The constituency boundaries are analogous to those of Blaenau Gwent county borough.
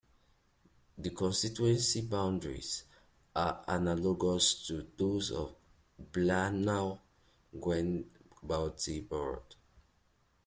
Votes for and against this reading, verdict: 2, 0, accepted